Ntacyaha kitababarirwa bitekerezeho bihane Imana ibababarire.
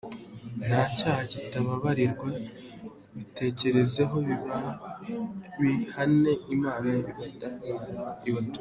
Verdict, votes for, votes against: rejected, 1, 2